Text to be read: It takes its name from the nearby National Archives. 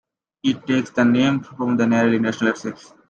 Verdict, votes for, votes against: rejected, 1, 2